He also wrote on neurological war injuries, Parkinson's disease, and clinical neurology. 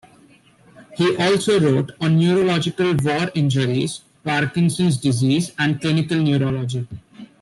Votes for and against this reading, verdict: 2, 0, accepted